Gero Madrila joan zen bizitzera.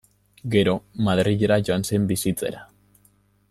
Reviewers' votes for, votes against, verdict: 2, 0, accepted